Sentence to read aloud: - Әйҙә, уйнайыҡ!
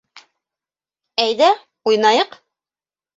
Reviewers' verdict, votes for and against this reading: accepted, 2, 0